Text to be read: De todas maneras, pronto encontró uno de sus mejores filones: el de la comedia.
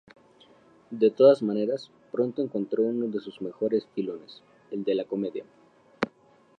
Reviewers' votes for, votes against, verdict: 2, 2, rejected